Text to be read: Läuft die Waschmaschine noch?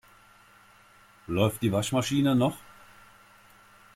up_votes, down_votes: 2, 0